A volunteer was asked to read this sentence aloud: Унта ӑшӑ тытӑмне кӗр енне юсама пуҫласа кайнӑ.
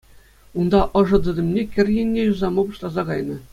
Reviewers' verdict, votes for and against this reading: accepted, 2, 0